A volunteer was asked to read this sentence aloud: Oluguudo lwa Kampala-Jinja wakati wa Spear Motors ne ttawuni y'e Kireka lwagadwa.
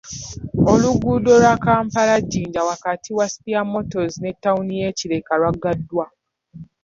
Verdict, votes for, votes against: rejected, 0, 2